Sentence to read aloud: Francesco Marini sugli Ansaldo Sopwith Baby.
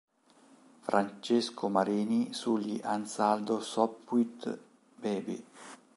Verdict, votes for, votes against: accepted, 3, 0